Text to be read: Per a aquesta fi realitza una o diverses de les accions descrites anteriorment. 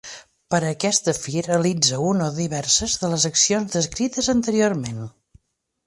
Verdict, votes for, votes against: accepted, 2, 0